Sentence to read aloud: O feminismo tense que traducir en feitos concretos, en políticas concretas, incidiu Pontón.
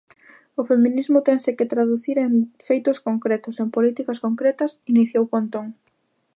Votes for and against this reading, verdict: 0, 3, rejected